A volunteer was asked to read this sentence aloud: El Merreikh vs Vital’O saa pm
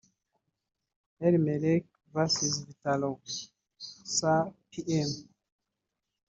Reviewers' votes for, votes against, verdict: 1, 2, rejected